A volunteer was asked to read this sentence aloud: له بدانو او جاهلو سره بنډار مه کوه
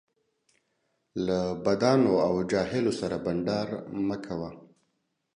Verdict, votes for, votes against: accepted, 2, 0